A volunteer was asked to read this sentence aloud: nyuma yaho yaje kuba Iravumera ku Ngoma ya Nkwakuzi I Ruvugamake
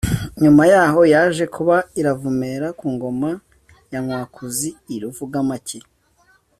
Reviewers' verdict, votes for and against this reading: accepted, 2, 0